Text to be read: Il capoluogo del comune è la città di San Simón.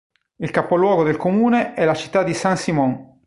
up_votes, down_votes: 2, 1